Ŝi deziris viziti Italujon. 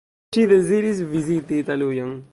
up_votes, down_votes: 3, 4